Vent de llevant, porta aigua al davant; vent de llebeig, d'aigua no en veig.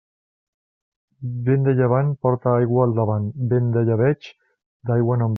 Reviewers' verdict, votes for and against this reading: rejected, 0, 2